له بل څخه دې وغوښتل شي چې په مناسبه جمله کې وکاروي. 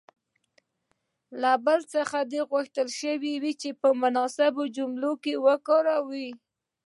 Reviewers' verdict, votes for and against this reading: rejected, 0, 2